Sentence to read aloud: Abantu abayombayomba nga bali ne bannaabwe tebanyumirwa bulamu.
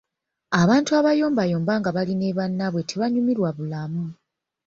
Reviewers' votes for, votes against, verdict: 1, 2, rejected